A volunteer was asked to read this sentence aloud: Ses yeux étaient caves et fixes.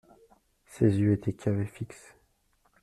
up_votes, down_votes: 2, 0